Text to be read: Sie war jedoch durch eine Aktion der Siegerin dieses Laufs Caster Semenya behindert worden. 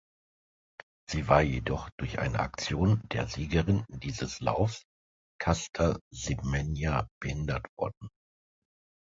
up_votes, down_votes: 2, 0